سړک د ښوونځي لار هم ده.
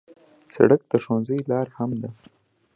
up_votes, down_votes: 2, 0